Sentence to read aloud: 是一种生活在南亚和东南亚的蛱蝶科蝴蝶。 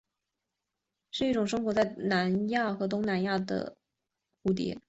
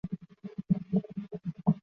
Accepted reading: first